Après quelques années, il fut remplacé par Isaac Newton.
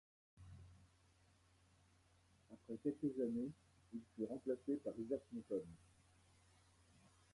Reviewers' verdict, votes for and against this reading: rejected, 1, 2